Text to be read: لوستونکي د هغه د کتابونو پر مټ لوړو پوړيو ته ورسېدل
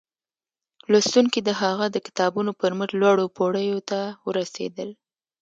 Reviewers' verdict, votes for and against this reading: accepted, 2, 0